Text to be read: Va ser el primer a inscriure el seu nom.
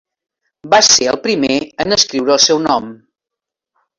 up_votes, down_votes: 0, 2